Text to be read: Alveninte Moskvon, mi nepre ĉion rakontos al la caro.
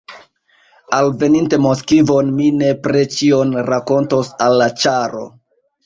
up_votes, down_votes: 0, 2